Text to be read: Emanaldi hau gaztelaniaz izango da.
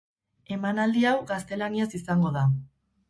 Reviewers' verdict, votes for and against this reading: rejected, 0, 2